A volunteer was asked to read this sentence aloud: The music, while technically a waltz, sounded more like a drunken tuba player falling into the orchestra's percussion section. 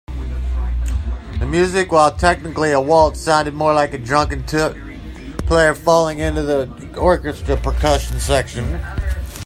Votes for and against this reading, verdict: 0, 2, rejected